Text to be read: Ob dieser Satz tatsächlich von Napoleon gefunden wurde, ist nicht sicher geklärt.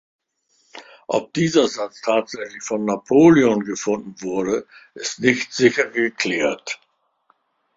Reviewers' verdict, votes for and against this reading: accepted, 2, 0